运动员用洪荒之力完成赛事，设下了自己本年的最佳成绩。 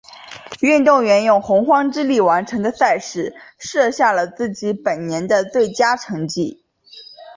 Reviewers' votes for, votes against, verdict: 2, 1, accepted